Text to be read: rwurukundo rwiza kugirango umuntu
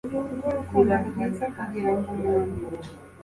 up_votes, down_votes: 2, 0